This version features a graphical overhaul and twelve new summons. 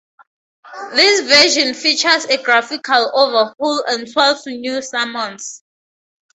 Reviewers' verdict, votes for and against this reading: accepted, 2, 0